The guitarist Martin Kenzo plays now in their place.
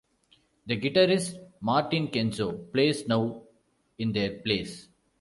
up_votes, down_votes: 2, 1